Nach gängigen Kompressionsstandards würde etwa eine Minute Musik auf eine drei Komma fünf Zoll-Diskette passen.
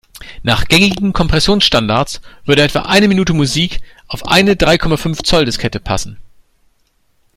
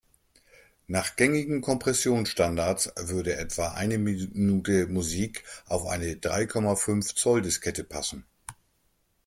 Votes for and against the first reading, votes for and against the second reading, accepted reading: 3, 0, 1, 2, first